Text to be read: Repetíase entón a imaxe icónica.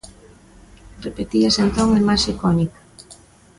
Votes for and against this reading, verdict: 1, 2, rejected